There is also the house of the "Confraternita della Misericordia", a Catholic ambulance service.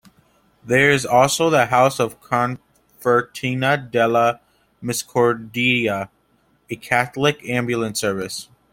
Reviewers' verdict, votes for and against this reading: rejected, 1, 2